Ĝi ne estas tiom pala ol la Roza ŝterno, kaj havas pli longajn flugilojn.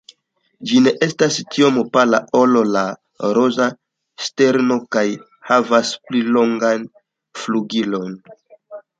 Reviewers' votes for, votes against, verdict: 2, 0, accepted